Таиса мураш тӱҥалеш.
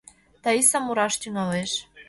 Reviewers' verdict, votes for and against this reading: accepted, 2, 0